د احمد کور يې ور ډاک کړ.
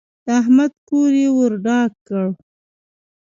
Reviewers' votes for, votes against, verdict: 0, 2, rejected